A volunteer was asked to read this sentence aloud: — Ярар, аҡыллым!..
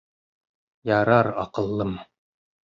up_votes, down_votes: 0, 2